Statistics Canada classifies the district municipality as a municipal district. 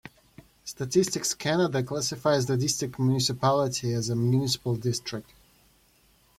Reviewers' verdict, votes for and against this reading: rejected, 1, 2